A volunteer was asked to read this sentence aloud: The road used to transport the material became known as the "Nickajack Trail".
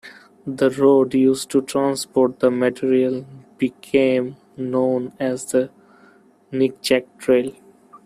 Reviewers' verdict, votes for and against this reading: rejected, 1, 2